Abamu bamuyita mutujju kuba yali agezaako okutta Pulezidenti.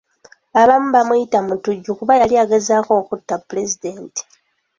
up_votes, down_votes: 2, 1